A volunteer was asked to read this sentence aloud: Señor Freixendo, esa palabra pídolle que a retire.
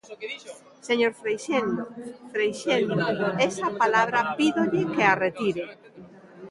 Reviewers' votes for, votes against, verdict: 0, 2, rejected